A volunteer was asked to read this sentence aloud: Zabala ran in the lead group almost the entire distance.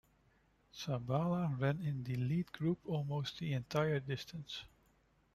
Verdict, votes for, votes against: rejected, 0, 2